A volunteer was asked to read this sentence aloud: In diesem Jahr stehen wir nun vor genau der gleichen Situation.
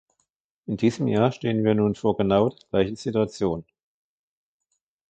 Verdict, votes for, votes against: rejected, 2, 3